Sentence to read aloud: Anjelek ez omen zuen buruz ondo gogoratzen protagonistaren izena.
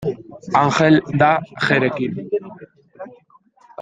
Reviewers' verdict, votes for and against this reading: rejected, 0, 2